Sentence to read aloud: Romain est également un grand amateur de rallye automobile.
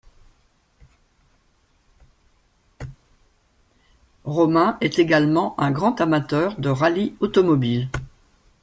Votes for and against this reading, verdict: 1, 2, rejected